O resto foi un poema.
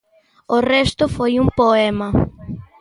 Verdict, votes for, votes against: accepted, 2, 0